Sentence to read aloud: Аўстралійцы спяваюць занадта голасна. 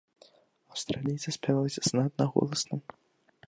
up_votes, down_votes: 2, 1